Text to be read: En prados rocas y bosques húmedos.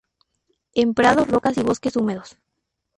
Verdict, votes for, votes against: accepted, 2, 0